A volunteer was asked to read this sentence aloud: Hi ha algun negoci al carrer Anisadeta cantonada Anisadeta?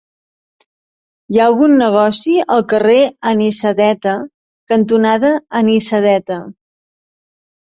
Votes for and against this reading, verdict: 2, 0, accepted